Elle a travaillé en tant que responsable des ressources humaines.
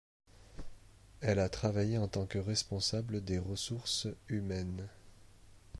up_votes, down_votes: 2, 0